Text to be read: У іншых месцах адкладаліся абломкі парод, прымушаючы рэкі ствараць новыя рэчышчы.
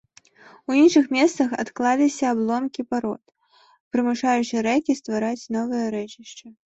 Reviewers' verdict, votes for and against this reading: rejected, 1, 2